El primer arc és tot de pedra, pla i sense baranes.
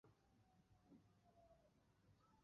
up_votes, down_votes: 0, 2